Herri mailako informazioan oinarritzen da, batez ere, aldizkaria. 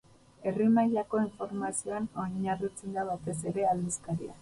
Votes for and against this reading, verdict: 2, 2, rejected